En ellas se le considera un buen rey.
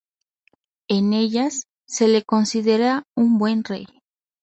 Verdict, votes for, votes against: accepted, 2, 0